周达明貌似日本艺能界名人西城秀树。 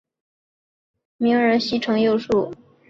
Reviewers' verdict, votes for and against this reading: accepted, 3, 1